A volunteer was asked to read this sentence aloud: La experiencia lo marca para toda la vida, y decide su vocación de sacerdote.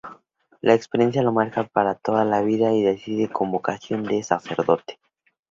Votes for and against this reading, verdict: 2, 2, rejected